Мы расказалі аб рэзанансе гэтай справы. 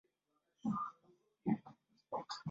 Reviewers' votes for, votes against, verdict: 0, 2, rejected